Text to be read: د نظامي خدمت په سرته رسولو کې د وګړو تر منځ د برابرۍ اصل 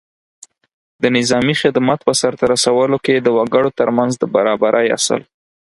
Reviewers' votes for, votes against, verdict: 6, 2, accepted